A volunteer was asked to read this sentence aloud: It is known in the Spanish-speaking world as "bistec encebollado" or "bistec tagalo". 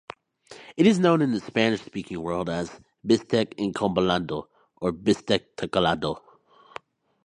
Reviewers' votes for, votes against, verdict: 0, 2, rejected